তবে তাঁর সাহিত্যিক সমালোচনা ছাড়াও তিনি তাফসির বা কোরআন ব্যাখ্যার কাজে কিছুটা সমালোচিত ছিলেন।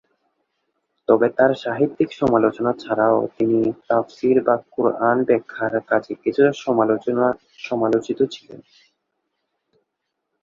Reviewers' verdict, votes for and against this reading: rejected, 0, 2